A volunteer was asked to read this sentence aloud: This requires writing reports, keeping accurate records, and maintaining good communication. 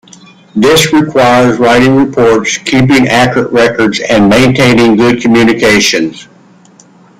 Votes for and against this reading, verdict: 2, 0, accepted